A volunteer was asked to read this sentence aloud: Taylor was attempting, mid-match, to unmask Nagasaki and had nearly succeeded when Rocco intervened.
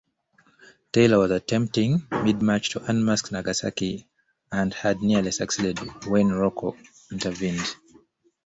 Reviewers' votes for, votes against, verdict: 1, 2, rejected